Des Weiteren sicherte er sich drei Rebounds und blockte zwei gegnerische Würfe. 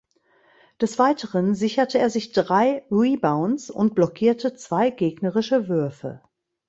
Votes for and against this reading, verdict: 0, 2, rejected